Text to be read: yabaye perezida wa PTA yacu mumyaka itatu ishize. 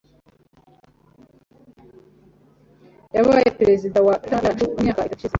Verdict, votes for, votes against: rejected, 1, 2